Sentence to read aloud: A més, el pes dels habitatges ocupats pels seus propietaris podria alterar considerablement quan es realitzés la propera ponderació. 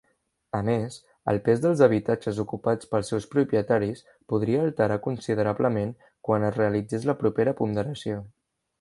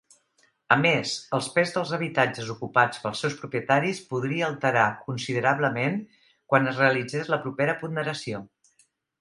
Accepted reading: first